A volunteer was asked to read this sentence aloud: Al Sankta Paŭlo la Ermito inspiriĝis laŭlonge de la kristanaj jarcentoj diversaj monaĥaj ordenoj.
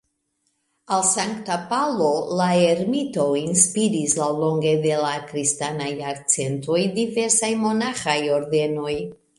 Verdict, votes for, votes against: rejected, 1, 2